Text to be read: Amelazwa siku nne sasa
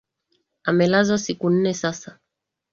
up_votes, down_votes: 2, 0